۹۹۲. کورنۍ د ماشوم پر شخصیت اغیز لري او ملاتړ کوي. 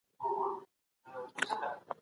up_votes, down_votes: 0, 2